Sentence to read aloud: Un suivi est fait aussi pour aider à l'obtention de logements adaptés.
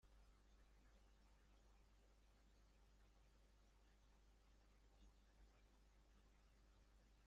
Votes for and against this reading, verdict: 0, 2, rejected